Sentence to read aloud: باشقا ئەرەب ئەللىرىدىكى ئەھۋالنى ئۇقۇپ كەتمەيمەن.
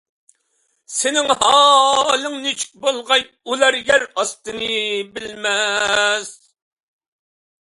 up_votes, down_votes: 0, 2